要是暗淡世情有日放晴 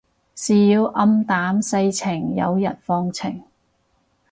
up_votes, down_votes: 4, 4